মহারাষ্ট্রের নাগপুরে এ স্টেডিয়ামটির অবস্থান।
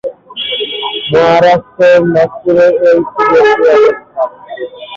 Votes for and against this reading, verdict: 0, 3, rejected